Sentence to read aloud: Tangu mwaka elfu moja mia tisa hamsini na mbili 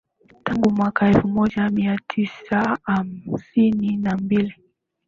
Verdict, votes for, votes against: accepted, 2, 1